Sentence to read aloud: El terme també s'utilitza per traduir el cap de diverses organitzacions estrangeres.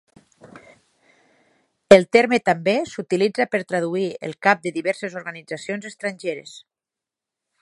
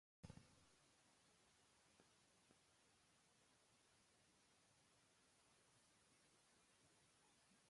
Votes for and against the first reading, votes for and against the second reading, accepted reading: 12, 0, 0, 2, first